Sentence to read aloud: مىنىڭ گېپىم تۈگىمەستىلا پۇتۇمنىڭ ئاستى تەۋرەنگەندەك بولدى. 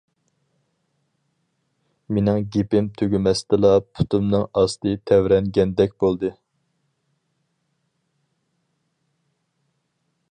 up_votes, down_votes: 4, 0